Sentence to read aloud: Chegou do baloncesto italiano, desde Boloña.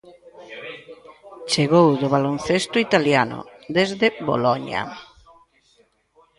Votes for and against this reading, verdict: 1, 2, rejected